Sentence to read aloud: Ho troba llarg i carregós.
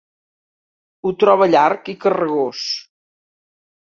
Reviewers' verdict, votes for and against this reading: accepted, 3, 0